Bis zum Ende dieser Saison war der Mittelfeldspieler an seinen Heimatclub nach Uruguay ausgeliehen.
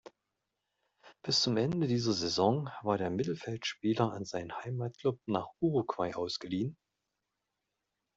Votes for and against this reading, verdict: 1, 2, rejected